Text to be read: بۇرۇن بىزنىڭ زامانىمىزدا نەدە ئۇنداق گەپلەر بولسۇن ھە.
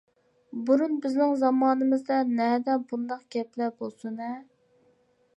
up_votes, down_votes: 2, 0